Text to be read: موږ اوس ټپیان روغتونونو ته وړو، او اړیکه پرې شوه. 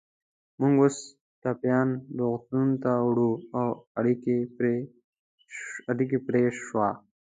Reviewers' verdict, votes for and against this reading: accepted, 2, 0